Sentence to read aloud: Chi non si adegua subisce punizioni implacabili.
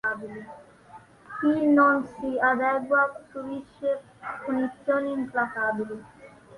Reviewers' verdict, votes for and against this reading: accepted, 2, 0